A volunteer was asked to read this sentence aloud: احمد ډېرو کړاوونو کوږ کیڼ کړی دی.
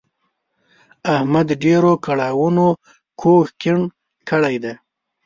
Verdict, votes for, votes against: accepted, 2, 1